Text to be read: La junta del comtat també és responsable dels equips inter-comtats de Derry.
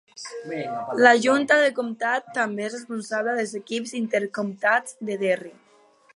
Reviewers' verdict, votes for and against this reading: accepted, 2, 0